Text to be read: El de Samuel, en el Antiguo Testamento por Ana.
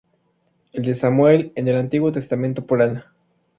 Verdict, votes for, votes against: accepted, 2, 0